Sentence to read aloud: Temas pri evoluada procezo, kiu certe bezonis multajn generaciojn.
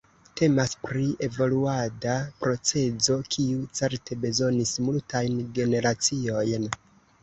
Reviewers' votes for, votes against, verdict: 0, 2, rejected